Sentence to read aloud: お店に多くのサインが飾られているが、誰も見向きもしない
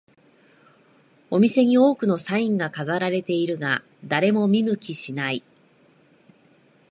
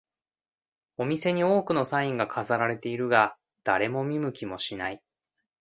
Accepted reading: second